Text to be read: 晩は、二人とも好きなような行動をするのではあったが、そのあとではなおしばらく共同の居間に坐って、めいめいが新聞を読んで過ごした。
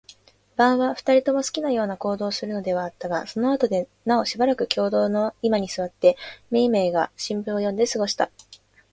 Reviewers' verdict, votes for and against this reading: accepted, 10, 4